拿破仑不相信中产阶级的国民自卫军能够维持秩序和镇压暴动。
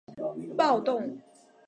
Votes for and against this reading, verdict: 2, 3, rejected